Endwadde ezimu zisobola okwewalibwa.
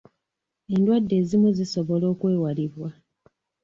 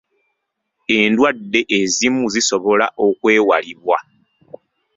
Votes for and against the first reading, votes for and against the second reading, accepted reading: 2, 0, 1, 2, first